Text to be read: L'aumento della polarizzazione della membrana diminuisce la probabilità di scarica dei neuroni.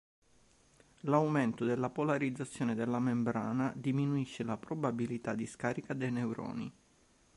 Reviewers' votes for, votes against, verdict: 2, 0, accepted